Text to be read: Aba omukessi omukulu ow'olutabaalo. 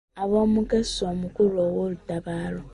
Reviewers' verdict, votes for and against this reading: rejected, 1, 2